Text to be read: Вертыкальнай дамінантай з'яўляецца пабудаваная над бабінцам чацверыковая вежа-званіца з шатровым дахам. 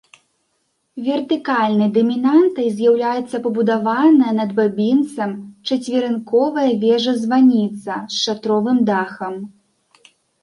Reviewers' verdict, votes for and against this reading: rejected, 0, 2